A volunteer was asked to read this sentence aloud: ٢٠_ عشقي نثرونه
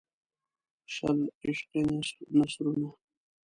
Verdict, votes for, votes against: rejected, 0, 2